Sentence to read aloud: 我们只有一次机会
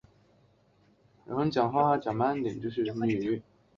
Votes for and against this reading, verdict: 3, 3, rejected